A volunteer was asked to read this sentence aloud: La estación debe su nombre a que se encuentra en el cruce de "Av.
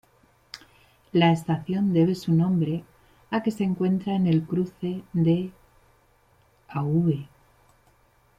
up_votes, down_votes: 2, 0